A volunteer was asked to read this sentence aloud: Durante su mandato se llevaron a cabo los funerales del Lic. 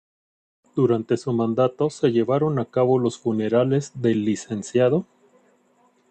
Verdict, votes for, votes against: rejected, 1, 2